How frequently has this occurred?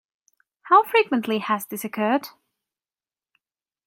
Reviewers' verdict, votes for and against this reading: accepted, 2, 0